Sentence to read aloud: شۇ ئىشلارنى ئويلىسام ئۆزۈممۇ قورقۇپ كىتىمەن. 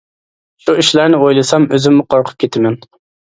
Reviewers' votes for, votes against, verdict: 2, 0, accepted